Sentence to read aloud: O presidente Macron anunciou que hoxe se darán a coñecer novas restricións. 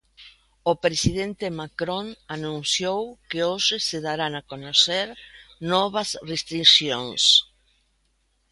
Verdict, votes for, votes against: rejected, 1, 2